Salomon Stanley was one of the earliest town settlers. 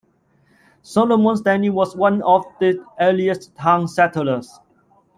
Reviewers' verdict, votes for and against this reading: accepted, 2, 0